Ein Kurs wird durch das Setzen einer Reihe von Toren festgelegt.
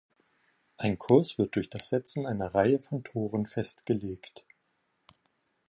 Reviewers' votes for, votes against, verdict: 2, 0, accepted